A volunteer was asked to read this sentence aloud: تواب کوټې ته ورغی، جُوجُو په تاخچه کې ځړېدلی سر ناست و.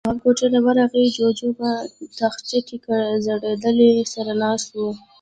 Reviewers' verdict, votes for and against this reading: accepted, 2, 0